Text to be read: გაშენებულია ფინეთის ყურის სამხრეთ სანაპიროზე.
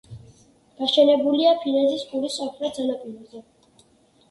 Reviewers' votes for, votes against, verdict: 1, 2, rejected